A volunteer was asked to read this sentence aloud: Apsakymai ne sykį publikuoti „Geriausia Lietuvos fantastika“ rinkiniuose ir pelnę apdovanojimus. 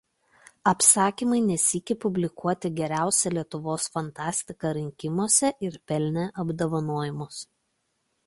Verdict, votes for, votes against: rejected, 1, 2